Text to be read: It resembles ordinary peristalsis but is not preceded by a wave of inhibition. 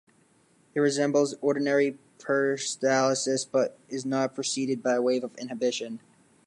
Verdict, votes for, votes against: rejected, 2, 4